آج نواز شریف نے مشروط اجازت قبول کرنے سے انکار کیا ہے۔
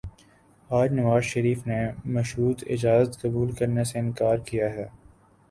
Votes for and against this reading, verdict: 2, 0, accepted